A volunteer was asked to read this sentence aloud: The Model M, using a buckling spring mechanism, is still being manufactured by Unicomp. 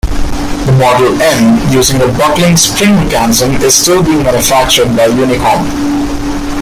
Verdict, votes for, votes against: rejected, 0, 2